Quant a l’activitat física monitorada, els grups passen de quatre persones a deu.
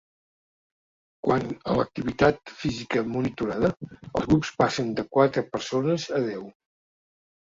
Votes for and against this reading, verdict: 0, 2, rejected